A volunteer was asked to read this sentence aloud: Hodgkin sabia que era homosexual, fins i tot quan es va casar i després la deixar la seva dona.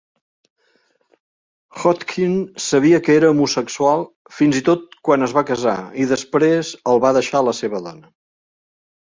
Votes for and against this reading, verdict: 0, 2, rejected